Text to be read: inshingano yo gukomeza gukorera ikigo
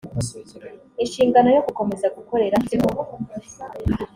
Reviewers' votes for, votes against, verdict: 2, 0, accepted